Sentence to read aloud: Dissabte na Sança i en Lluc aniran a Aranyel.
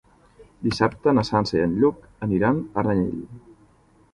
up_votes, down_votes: 1, 2